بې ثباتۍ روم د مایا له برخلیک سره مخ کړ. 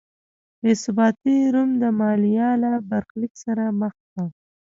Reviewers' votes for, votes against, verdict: 0, 2, rejected